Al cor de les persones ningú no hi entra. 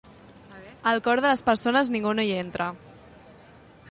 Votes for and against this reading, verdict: 2, 0, accepted